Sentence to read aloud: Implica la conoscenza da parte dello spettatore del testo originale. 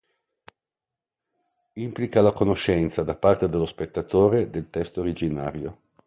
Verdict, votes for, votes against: rejected, 1, 2